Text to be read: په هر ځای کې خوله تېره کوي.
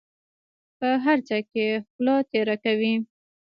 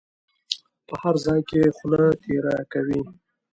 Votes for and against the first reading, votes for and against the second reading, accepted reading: 1, 2, 2, 0, second